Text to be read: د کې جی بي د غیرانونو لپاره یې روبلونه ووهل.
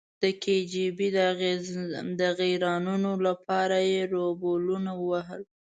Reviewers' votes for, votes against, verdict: 0, 2, rejected